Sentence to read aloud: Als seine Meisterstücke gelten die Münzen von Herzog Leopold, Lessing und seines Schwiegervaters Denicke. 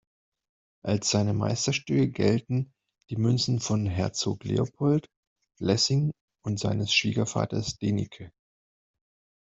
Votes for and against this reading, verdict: 0, 2, rejected